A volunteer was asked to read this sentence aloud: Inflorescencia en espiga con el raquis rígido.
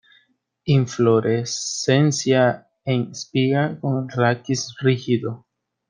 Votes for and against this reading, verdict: 1, 2, rejected